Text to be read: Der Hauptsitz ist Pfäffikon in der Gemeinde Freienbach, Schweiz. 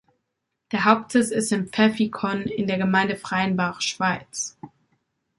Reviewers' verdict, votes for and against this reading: rejected, 0, 2